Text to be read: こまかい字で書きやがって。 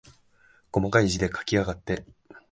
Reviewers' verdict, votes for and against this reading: accepted, 16, 1